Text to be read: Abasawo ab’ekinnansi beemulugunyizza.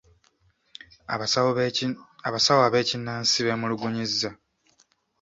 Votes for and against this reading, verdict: 2, 0, accepted